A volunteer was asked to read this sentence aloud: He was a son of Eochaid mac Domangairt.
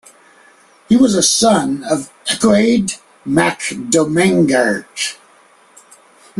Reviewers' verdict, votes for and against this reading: rejected, 0, 2